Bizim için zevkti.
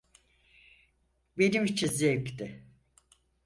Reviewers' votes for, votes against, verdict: 0, 4, rejected